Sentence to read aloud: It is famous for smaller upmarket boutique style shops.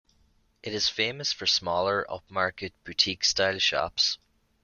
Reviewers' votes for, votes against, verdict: 2, 0, accepted